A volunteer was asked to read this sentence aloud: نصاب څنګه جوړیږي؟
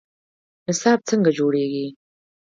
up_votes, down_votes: 2, 0